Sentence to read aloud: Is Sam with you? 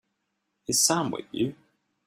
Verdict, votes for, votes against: accepted, 2, 1